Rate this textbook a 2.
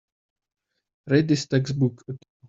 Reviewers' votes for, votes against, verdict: 0, 2, rejected